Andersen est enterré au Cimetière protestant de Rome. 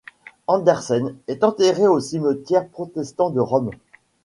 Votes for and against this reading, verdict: 2, 0, accepted